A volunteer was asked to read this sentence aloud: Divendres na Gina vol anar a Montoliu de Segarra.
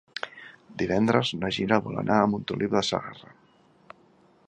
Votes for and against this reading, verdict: 2, 0, accepted